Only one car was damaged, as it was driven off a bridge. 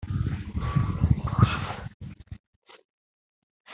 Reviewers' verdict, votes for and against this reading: rejected, 0, 2